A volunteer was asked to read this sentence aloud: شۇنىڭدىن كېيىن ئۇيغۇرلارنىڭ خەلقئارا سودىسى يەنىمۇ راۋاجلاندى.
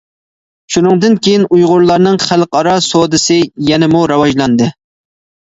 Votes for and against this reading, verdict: 2, 0, accepted